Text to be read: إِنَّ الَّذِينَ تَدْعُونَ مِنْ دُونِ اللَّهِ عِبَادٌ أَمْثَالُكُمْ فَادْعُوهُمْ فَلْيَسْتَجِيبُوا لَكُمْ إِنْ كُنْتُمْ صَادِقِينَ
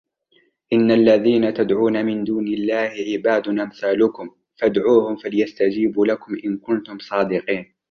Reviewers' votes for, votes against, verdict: 2, 0, accepted